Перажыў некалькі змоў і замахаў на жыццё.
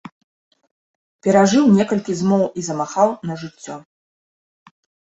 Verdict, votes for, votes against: rejected, 0, 2